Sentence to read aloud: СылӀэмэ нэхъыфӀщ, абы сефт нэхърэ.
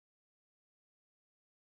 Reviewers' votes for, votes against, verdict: 0, 2, rejected